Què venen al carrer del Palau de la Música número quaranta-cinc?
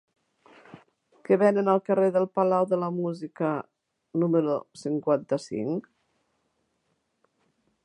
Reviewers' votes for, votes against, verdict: 0, 2, rejected